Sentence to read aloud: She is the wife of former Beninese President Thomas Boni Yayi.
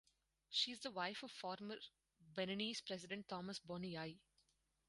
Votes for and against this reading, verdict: 2, 2, rejected